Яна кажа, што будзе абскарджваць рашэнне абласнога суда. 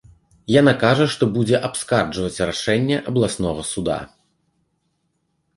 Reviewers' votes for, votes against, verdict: 2, 0, accepted